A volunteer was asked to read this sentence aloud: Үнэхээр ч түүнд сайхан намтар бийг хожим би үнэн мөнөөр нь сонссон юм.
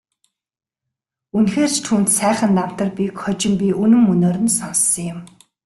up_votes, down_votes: 2, 0